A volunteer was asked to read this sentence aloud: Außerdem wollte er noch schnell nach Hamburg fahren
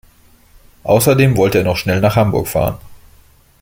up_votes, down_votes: 2, 0